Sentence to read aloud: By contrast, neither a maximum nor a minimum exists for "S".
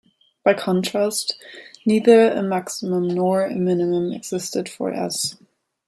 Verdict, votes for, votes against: rejected, 1, 2